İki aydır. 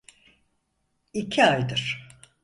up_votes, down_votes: 4, 0